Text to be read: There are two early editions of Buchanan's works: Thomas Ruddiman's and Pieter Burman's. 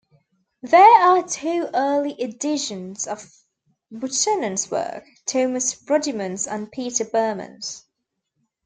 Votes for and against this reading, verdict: 0, 2, rejected